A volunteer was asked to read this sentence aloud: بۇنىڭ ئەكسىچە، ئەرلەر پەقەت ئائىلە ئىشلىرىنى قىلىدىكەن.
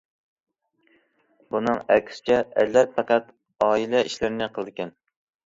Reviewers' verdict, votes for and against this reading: accepted, 2, 0